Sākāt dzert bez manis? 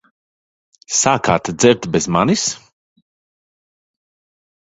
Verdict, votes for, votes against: accepted, 2, 1